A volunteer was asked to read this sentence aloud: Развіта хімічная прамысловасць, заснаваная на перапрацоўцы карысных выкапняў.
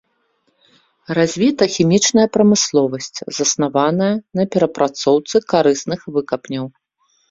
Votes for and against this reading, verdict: 0, 2, rejected